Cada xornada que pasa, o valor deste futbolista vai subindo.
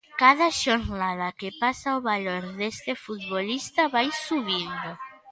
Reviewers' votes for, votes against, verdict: 2, 0, accepted